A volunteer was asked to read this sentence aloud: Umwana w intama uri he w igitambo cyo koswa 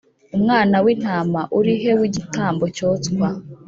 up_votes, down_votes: 1, 2